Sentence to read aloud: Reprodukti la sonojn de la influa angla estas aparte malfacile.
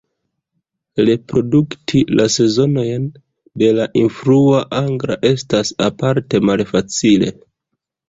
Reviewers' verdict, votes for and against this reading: rejected, 0, 3